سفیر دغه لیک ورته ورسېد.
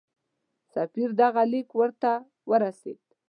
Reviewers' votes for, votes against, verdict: 2, 0, accepted